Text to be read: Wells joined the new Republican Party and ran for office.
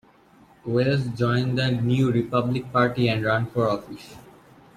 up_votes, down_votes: 1, 2